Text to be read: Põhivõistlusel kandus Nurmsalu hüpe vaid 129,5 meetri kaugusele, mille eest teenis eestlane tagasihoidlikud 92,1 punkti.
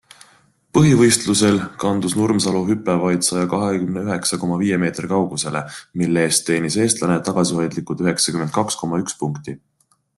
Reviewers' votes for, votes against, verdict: 0, 2, rejected